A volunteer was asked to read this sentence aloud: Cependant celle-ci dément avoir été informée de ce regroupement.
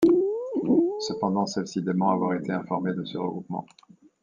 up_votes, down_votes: 1, 2